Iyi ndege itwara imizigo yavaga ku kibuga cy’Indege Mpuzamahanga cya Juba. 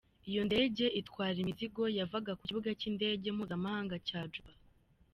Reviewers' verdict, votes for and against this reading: accepted, 2, 1